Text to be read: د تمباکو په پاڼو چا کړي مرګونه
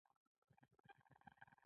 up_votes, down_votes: 1, 2